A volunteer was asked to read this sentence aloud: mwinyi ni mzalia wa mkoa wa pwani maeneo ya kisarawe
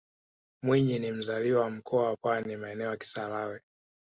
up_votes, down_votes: 3, 1